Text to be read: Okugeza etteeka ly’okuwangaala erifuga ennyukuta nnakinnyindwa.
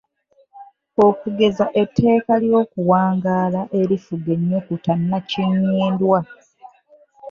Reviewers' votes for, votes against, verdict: 0, 2, rejected